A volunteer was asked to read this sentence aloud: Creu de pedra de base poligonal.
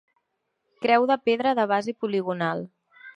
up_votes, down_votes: 2, 0